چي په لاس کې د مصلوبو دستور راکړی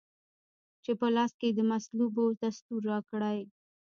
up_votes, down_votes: 0, 2